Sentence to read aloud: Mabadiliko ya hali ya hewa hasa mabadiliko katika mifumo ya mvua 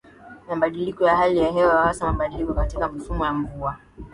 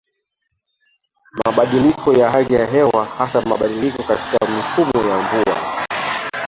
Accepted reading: first